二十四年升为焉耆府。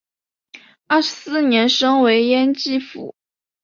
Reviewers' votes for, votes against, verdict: 3, 0, accepted